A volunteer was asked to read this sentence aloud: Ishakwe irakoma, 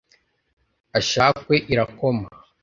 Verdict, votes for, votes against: rejected, 1, 2